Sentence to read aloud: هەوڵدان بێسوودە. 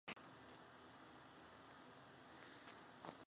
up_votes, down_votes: 0, 2